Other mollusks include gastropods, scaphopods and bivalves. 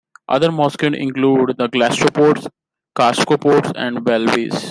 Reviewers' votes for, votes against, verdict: 0, 2, rejected